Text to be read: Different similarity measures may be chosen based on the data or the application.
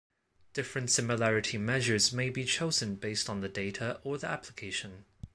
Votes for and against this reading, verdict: 2, 0, accepted